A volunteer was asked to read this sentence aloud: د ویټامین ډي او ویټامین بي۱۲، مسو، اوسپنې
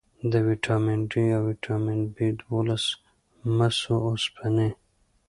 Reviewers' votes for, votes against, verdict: 0, 2, rejected